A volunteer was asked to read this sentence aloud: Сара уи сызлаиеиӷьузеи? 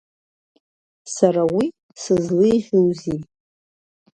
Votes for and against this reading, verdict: 2, 0, accepted